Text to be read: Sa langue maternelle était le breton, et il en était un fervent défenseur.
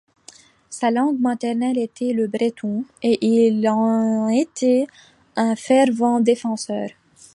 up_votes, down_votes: 2, 1